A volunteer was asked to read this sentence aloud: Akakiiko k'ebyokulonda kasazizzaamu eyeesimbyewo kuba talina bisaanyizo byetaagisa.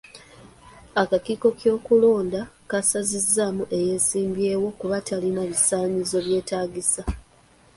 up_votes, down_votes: 1, 2